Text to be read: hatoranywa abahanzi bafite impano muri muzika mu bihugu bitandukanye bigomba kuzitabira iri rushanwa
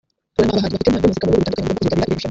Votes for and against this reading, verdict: 0, 3, rejected